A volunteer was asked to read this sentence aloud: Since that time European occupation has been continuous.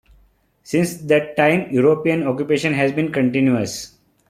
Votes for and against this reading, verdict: 2, 1, accepted